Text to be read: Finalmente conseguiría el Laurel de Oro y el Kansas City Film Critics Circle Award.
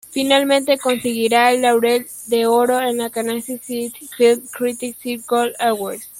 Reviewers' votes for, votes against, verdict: 0, 2, rejected